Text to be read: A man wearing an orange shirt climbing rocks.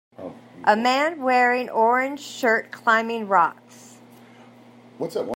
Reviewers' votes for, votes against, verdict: 0, 2, rejected